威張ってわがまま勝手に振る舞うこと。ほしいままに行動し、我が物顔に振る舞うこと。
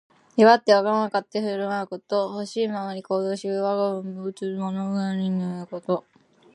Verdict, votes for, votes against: rejected, 0, 2